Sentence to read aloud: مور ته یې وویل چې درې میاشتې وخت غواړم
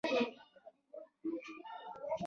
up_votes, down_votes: 1, 2